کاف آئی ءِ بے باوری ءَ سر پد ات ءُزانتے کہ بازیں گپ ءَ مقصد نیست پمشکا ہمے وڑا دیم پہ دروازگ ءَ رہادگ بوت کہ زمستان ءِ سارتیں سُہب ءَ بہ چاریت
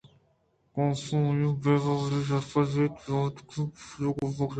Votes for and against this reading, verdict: 2, 0, accepted